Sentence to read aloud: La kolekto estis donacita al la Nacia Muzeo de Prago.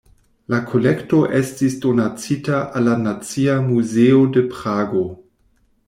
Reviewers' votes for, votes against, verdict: 2, 0, accepted